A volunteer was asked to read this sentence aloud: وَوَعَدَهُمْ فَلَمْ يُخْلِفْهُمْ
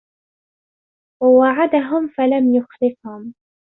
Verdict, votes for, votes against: accepted, 2, 0